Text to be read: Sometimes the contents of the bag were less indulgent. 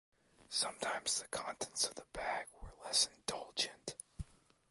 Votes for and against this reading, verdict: 2, 1, accepted